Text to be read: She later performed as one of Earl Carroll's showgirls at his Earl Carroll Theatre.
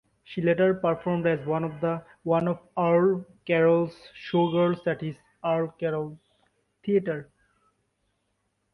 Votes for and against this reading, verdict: 0, 2, rejected